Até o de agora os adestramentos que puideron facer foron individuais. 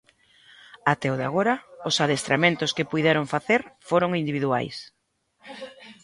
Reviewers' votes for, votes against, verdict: 1, 2, rejected